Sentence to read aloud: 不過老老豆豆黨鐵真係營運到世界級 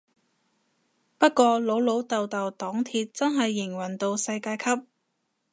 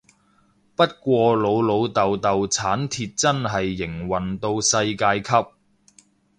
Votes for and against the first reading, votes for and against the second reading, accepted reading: 2, 0, 0, 2, first